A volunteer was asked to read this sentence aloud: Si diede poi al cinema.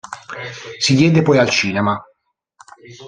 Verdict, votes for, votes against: rejected, 1, 2